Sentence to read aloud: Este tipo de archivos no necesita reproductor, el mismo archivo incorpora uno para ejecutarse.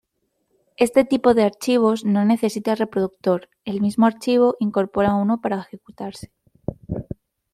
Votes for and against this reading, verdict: 2, 0, accepted